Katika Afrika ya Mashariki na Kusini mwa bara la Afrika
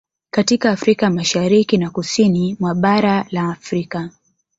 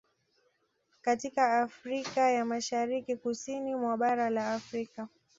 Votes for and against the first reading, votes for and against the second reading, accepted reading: 1, 2, 2, 0, second